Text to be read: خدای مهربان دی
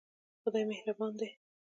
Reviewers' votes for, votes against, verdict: 1, 2, rejected